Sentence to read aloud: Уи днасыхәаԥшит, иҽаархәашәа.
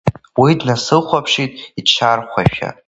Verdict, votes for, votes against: accepted, 2, 1